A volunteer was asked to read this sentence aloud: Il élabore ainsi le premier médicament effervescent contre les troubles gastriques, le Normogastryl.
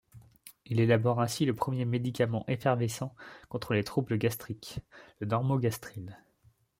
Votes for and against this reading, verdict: 2, 0, accepted